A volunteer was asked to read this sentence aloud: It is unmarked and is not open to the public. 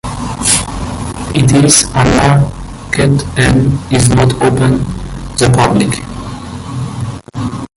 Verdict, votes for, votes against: rejected, 0, 2